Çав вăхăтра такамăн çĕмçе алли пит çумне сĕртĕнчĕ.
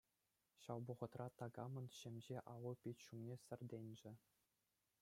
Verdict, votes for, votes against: accepted, 2, 0